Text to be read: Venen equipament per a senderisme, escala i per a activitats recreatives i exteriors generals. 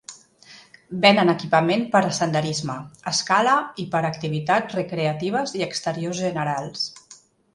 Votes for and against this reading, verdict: 2, 0, accepted